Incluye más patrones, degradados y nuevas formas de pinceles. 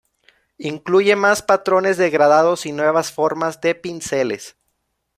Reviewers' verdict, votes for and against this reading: rejected, 1, 2